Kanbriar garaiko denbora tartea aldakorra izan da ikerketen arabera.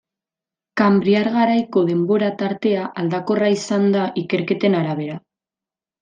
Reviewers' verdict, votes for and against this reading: accepted, 2, 0